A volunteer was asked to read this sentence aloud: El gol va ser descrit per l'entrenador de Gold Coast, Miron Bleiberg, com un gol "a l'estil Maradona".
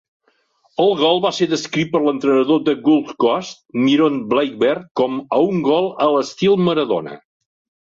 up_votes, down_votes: 1, 2